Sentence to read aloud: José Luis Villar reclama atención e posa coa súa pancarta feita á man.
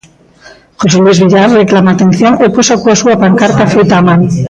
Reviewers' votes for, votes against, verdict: 2, 0, accepted